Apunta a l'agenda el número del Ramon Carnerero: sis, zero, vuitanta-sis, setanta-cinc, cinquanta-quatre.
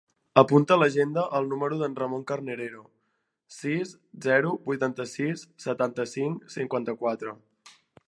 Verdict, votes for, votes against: accepted, 2, 1